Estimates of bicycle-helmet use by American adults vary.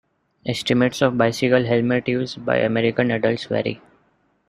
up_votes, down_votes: 2, 0